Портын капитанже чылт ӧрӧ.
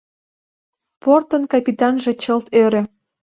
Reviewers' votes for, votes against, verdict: 2, 0, accepted